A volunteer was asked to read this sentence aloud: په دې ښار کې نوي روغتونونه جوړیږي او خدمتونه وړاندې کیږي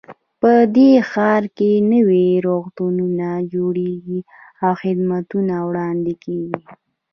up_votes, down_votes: 0, 2